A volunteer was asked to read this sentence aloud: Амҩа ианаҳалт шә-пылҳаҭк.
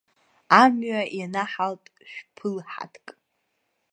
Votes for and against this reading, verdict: 1, 2, rejected